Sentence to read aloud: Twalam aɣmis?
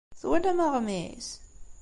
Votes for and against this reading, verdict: 2, 0, accepted